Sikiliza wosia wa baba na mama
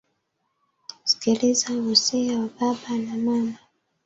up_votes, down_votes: 2, 0